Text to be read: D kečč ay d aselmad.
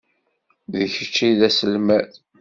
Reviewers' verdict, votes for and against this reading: accepted, 2, 0